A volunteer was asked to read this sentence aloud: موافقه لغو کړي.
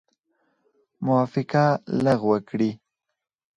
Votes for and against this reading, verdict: 4, 0, accepted